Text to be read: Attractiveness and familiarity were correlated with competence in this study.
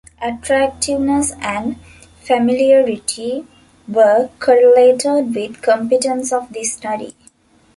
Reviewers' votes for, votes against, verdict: 0, 2, rejected